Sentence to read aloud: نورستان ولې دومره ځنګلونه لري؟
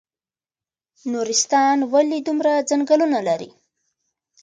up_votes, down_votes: 2, 0